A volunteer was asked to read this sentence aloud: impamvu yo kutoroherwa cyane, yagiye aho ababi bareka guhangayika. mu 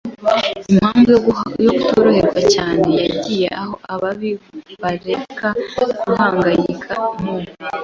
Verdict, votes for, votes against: accepted, 3, 1